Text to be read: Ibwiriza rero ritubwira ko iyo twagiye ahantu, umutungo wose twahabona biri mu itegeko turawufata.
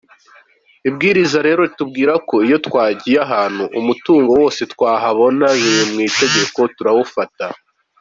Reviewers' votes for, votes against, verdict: 2, 0, accepted